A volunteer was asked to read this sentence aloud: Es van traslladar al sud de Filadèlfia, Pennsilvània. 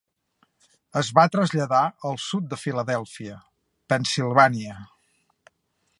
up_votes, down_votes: 2, 3